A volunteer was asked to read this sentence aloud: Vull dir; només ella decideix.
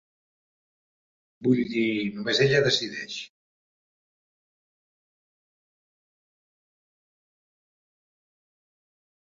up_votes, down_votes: 1, 2